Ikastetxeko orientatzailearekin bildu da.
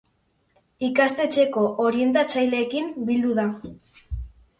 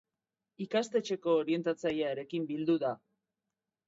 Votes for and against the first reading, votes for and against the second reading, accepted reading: 0, 2, 2, 0, second